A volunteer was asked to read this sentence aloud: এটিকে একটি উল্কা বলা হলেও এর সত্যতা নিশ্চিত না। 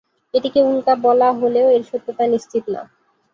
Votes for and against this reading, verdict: 0, 2, rejected